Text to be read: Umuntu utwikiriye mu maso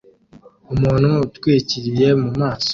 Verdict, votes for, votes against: accepted, 2, 0